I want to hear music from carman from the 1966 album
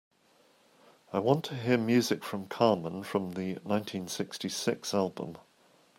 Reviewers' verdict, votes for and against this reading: rejected, 0, 2